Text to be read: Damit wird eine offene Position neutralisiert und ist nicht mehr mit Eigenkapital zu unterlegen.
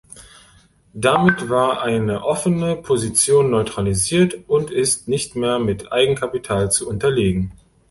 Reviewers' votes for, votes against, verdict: 0, 2, rejected